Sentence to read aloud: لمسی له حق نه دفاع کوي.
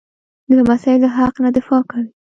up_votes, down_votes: 2, 0